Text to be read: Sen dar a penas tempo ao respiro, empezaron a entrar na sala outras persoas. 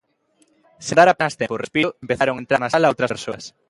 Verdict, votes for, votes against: rejected, 0, 2